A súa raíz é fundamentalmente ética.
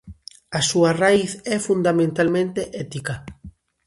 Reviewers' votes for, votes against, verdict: 2, 0, accepted